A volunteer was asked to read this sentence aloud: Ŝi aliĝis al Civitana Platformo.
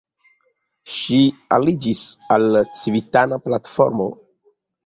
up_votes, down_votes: 2, 1